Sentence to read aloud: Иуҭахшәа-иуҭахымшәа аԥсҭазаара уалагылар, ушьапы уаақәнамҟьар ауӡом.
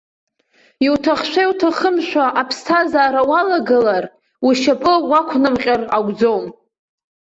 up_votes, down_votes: 1, 2